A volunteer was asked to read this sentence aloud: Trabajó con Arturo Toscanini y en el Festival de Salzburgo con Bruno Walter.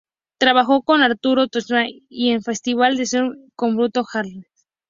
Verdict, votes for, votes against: rejected, 2, 2